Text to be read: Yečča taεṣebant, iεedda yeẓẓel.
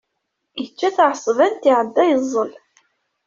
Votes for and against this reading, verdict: 2, 0, accepted